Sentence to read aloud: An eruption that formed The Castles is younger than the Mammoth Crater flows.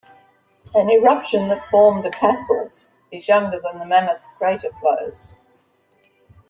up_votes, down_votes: 2, 0